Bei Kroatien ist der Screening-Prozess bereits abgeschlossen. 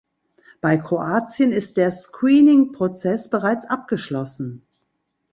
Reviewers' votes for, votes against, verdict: 2, 0, accepted